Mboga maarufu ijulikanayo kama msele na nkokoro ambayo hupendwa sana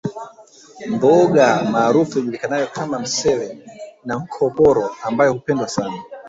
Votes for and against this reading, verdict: 0, 2, rejected